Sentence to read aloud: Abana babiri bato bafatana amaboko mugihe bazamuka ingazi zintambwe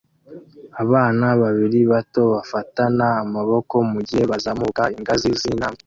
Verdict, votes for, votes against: rejected, 1, 2